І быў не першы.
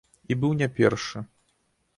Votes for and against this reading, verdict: 2, 0, accepted